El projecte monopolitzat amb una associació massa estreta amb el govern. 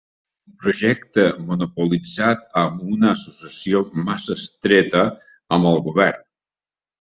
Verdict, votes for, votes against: rejected, 0, 2